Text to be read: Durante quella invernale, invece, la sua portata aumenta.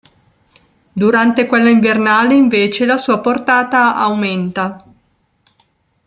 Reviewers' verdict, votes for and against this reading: accepted, 2, 0